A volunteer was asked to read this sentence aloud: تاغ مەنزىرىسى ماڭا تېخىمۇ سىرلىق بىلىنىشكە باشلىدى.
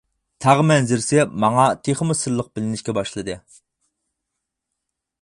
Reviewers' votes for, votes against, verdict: 4, 0, accepted